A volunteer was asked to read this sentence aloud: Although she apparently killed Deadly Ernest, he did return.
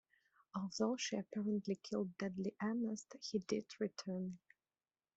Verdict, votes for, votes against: rejected, 0, 2